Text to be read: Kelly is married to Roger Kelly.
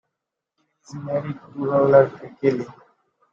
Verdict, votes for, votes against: rejected, 0, 2